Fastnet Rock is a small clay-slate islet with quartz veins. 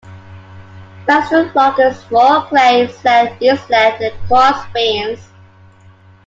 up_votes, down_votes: 0, 2